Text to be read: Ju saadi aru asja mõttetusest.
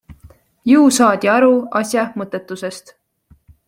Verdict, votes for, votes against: accepted, 2, 0